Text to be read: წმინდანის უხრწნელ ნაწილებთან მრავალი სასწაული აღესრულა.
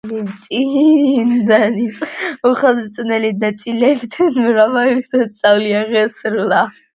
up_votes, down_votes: 0, 2